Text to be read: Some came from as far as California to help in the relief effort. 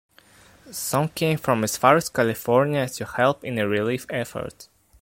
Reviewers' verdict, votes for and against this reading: accepted, 2, 0